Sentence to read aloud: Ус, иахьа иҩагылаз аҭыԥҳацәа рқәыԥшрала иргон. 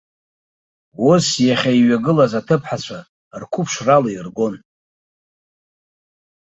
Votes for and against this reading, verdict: 2, 0, accepted